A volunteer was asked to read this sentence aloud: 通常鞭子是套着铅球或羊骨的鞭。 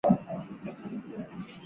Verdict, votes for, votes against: rejected, 0, 2